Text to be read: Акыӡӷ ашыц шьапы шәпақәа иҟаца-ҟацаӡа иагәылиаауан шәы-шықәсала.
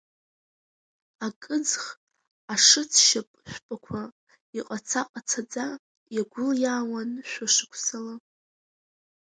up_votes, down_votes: 3, 7